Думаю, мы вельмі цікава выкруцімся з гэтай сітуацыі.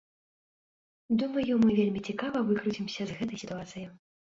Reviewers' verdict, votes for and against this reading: accepted, 2, 1